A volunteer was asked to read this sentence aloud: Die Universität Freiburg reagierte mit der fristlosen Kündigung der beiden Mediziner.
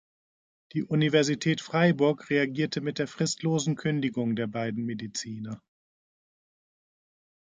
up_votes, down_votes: 2, 0